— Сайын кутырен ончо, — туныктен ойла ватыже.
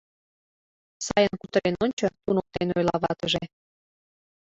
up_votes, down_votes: 0, 2